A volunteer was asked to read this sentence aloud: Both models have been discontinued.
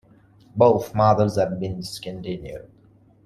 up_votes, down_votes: 1, 2